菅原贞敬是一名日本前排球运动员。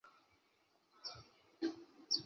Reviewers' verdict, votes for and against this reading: rejected, 1, 2